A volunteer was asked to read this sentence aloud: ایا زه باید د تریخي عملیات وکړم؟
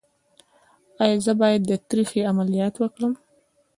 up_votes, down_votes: 0, 2